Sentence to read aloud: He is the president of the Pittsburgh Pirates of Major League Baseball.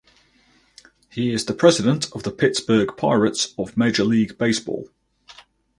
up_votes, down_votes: 4, 0